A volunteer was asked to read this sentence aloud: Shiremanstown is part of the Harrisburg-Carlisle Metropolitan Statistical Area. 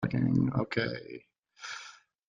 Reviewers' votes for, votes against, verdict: 0, 2, rejected